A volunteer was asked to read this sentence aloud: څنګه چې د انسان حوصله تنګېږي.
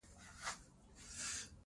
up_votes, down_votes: 0, 2